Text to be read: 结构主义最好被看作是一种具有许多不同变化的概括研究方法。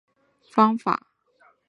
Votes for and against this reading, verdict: 0, 2, rejected